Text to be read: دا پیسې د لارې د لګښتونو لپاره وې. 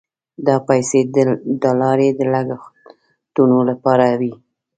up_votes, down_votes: 0, 2